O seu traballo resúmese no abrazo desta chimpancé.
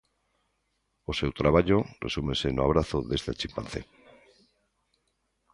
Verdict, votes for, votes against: accepted, 2, 0